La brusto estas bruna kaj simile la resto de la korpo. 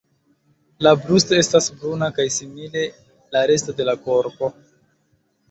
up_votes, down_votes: 2, 1